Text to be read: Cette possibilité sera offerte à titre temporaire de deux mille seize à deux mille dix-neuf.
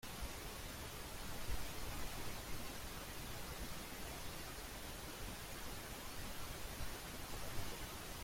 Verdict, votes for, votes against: rejected, 0, 2